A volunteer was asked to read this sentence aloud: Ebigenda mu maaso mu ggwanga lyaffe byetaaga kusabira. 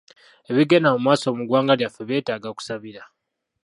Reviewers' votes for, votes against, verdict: 0, 2, rejected